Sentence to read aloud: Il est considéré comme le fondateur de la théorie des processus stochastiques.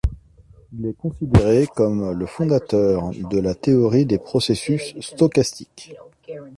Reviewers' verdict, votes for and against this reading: accepted, 2, 1